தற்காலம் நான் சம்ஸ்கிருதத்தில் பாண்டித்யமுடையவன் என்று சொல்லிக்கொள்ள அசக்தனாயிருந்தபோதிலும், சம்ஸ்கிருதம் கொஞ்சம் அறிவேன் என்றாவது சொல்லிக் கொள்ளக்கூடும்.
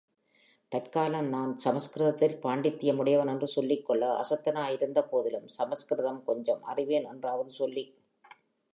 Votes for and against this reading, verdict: 0, 2, rejected